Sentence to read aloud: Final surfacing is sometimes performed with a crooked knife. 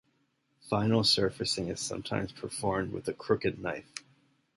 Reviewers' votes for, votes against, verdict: 2, 0, accepted